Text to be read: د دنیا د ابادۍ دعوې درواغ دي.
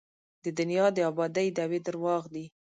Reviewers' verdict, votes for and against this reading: accepted, 2, 0